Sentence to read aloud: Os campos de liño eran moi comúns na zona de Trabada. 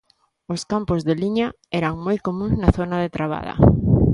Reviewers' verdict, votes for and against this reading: rejected, 1, 2